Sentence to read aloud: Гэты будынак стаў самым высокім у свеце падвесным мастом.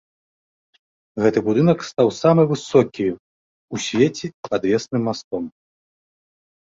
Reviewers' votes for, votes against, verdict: 1, 2, rejected